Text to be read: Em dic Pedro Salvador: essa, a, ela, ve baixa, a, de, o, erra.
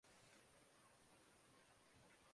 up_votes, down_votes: 0, 2